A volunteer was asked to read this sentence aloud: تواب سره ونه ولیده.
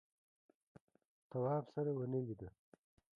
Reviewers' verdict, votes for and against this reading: accepted, 2, 0